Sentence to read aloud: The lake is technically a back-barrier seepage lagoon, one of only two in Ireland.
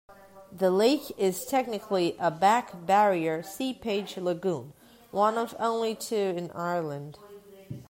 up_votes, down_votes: 2, 1